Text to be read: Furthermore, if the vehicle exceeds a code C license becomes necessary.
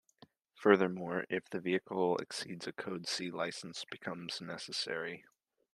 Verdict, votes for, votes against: accepted, 2, 0